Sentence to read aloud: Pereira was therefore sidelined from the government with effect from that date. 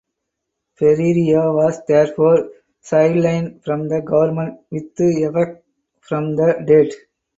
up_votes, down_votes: 0, 4